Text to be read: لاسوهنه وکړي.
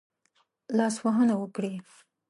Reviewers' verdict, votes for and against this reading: accepted, 3, 0